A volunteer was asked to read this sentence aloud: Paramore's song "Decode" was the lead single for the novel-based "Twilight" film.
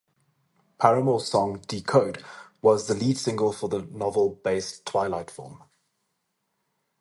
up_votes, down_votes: 2, 2